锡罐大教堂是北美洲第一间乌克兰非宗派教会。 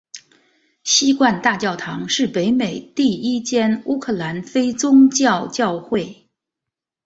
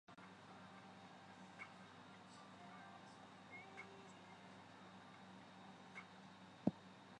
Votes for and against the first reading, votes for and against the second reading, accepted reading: 2, 0, 0, 3, first